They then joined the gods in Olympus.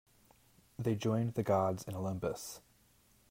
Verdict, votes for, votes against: rejected, 0, 2